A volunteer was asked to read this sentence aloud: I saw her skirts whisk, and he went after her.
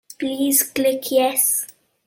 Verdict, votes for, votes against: rejected, 1, 2